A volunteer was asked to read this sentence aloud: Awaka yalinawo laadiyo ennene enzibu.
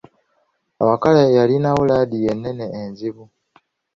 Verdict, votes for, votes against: rejected, 1, 2